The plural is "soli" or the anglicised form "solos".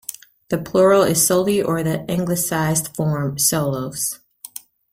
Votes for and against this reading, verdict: 2, 0, accepted